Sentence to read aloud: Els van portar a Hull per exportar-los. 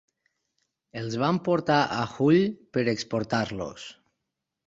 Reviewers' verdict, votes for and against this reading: accepted, 4, 0